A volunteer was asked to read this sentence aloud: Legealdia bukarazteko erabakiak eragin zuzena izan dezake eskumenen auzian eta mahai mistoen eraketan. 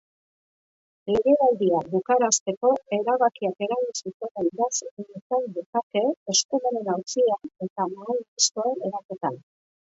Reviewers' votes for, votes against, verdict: 0, 2, rejected